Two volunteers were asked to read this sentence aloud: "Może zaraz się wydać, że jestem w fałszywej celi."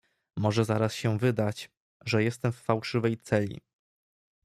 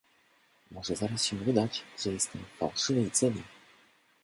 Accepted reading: first